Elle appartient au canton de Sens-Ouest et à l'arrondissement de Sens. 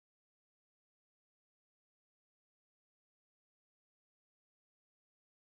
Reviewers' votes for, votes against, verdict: 0, 4, rejected